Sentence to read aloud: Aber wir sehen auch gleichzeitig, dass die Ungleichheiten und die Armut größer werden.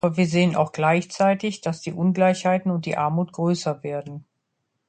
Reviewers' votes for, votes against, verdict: 0, 2, rejected